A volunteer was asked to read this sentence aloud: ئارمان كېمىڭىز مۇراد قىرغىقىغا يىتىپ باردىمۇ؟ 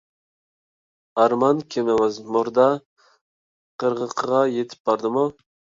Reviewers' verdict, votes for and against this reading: rejected, 1, 2